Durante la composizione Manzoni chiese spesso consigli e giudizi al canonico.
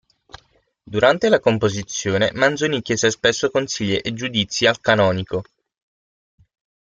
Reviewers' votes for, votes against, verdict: 6, 0, accepted